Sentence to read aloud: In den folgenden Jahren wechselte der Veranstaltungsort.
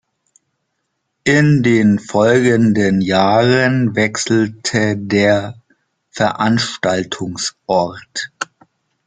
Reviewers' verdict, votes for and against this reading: rejected, 1, 2